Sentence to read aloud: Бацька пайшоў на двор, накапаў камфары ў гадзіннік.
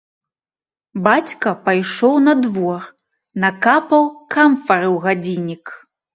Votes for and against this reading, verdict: 2, 0, accepted